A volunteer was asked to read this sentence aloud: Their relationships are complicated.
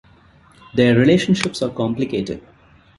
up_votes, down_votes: 2, 0